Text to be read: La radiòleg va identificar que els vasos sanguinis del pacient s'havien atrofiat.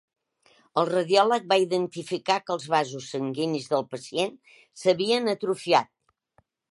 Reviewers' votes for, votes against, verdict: 1, 2, rejected